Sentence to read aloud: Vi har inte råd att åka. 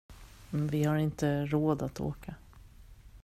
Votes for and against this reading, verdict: 2, 1, accepted